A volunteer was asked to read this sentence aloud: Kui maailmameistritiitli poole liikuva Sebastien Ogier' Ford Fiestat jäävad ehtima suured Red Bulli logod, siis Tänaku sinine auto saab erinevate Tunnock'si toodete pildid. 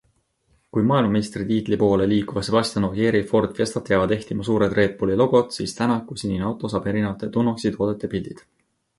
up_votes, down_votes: 2, 0